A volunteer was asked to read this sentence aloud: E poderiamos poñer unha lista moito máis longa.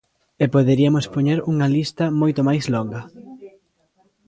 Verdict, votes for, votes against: accepted, 2, 0